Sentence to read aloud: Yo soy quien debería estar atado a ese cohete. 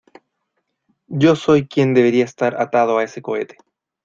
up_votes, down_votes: 2, 0